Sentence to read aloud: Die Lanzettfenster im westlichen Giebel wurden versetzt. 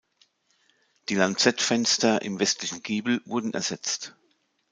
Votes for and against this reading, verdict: 1, 2, rejected